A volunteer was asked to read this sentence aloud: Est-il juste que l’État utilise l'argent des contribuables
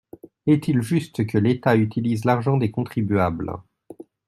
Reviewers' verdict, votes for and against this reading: accepted, 2, 0